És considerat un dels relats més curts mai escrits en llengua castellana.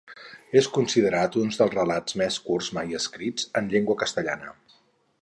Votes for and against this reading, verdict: 2, 4, rejected